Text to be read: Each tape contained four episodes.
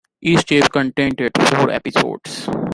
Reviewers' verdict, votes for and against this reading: rejected, 0, 2